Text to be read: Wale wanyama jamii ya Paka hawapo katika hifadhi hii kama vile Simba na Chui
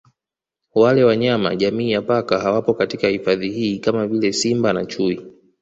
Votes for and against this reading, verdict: 2, 0, accepted